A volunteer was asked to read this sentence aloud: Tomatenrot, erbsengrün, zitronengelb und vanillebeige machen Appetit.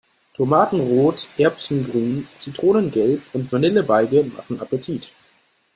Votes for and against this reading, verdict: 0, 2, rejected